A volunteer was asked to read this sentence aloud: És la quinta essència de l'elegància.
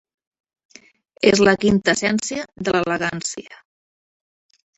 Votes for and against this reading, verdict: 2, 0, accepted